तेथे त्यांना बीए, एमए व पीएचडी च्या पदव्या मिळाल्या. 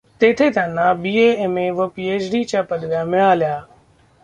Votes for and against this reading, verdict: 0, 2, rejected